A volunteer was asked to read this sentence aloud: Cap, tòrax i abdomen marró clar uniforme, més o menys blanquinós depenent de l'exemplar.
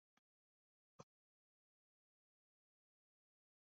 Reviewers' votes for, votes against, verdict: 0, 2, rejected